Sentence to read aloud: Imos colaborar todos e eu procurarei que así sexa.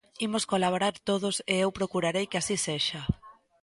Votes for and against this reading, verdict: 2, 0, accepted